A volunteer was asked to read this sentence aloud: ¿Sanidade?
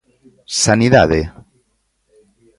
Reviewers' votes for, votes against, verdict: 1, 2, rejected